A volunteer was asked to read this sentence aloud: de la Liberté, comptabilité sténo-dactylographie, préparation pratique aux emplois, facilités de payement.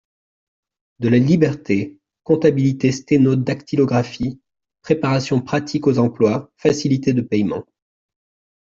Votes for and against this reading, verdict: 2, 0, accepted